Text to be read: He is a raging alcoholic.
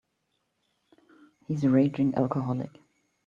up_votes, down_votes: 2, 1